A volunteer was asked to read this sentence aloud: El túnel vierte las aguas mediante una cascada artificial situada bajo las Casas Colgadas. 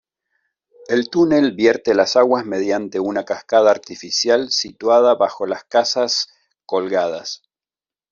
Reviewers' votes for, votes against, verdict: 2, 0, accepted